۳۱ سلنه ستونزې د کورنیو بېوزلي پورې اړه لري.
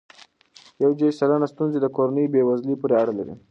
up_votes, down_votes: 0, 2